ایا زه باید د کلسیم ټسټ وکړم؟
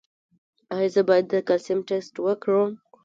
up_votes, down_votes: 1, 2